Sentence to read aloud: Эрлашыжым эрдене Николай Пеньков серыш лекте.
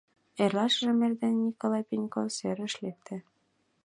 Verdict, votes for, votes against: accepted, 2, 0